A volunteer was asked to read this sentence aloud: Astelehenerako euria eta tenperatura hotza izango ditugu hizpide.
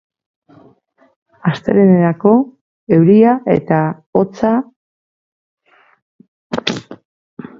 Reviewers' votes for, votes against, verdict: 0, 8, rejected